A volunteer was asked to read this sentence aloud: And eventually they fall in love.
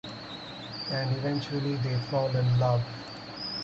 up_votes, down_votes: 4, 0